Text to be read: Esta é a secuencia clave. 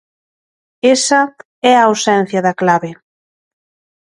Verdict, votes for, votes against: rejected, 0, 2